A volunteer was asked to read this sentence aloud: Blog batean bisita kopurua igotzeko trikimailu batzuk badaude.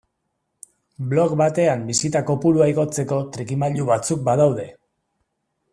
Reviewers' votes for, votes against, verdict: 2, 0, accepted